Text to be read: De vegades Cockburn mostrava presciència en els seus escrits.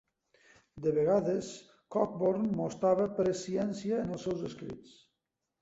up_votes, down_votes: 2, 1